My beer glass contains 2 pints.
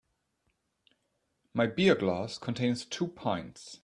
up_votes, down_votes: 0, 2